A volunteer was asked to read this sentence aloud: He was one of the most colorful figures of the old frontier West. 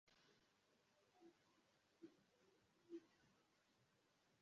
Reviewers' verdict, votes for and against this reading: rejected, 0, 2